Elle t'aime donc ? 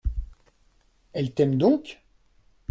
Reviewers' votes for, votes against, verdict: 2, 0, accepted